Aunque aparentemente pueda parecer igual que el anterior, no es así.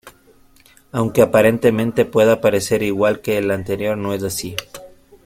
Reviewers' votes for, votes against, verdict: 3, 1, accepted